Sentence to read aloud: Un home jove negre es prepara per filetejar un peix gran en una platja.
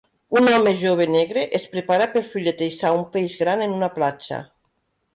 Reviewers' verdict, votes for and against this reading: accepted, 2, 0